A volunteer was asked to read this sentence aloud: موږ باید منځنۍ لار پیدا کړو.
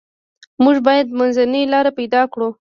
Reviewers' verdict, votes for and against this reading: rejected, 1, 2